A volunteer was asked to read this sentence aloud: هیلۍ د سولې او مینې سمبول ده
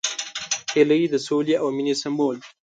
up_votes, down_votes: 0, 2